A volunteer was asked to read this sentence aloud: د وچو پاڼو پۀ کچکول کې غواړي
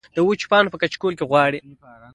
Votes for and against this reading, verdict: 2, 0, accepted